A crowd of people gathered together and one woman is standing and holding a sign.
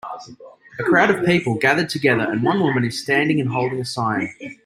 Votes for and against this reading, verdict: 1, 2, rejected